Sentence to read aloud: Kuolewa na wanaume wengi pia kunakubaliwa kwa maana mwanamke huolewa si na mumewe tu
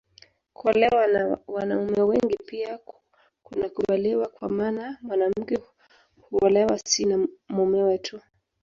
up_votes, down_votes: 2, 1